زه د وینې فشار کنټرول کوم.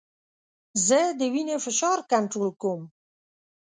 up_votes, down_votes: 2, 0